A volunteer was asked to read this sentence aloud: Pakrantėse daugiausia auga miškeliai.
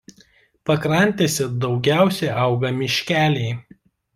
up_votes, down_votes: 2, 0